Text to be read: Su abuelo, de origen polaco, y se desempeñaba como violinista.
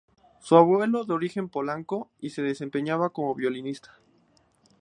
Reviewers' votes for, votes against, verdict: 0, 2, rejected